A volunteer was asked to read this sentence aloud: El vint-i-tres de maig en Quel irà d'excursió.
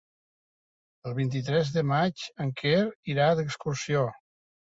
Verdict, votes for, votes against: accepted, 2, 0